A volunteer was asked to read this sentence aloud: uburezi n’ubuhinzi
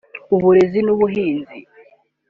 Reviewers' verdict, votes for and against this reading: accepted, 3, 0